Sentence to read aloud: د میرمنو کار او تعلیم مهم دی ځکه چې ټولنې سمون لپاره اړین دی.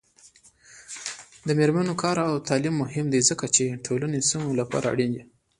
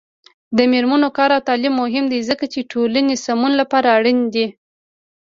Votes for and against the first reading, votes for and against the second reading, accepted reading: 0, 2, 2, 0, second